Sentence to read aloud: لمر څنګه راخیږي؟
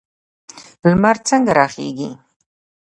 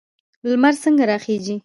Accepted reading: first